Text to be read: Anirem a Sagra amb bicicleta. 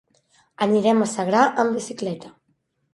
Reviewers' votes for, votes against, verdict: 1, 2, rejected